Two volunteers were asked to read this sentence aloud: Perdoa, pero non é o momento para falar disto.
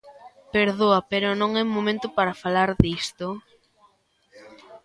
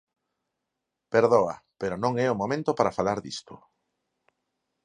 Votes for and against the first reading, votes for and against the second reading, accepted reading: 0, 2, 4, 0, second